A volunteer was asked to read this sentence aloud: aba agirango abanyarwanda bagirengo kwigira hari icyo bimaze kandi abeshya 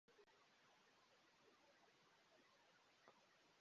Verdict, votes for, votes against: rejected, 0, 2